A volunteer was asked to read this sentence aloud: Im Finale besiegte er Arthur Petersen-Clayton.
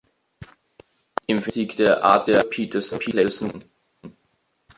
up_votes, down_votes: 0, 2